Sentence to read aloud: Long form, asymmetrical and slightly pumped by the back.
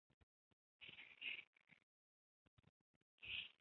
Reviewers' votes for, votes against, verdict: 0, 2, rejected